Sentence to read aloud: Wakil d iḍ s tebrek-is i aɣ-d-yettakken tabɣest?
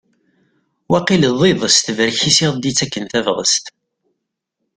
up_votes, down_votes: 2, 0